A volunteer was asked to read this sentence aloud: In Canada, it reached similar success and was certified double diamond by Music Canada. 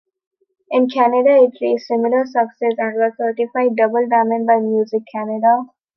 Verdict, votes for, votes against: accepted, 2, 1